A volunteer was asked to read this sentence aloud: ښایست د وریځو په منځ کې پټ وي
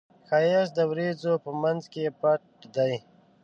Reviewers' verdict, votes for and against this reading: rejected, 1, 2